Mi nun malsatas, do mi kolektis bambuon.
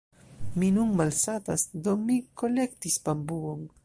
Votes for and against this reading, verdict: 1, 2, rejected